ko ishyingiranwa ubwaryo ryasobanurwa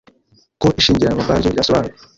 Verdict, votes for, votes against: rejected, 1, 2